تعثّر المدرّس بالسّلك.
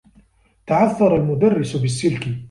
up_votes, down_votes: 2, 0